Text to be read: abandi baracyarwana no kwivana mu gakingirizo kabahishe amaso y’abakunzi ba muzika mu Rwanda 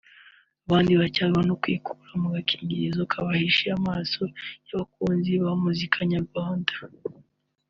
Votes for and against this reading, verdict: 0, 2, rejected